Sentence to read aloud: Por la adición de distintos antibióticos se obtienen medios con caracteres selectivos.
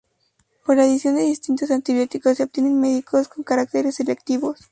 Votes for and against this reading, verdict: 0, 2, rejected